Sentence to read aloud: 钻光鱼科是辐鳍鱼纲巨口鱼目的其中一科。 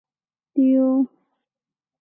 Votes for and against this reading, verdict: 0, 3, rejected